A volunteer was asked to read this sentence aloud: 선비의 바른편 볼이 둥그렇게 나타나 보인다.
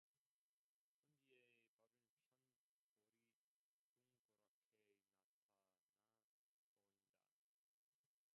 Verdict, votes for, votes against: rejected, 0, 2